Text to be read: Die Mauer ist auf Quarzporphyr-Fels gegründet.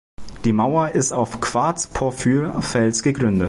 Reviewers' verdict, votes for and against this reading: rejected, 0, 2